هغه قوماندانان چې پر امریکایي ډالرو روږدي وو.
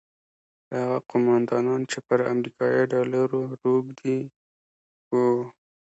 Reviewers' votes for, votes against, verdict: 2, 0, accepted